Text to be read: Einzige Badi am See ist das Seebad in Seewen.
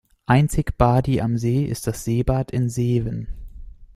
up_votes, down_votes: 0, 2